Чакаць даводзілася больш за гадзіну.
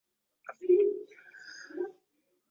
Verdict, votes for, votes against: rejected, 0, 2